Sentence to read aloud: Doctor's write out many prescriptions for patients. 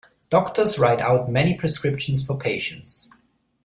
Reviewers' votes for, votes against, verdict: 2, 0, accepted